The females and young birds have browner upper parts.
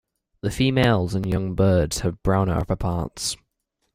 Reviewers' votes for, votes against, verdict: 1, 2, rejected